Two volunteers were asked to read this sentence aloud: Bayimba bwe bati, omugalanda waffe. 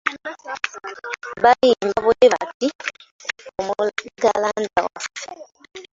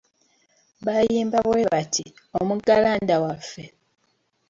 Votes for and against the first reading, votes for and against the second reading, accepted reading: 0, 3, 3, 1, second